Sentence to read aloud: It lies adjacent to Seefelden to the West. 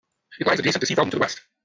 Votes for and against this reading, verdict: 1, 2, rejected